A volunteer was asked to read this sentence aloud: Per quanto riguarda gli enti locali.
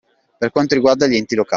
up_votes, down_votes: 0, 2